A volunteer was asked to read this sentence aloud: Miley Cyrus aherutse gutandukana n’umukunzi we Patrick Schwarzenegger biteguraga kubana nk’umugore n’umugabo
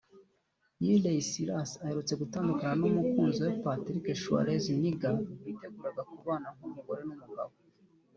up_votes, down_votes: 1, 2